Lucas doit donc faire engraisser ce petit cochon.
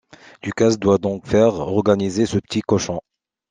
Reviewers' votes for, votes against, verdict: 1, 2, rejected